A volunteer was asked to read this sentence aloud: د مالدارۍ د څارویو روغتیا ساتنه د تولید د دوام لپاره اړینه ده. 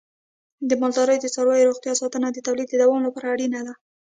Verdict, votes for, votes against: rejected, 1, 2